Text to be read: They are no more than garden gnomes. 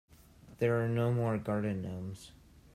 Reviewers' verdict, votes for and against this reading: rejected, 0, 2